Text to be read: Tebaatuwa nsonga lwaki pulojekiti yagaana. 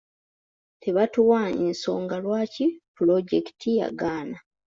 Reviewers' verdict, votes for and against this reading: accepted, 2, 0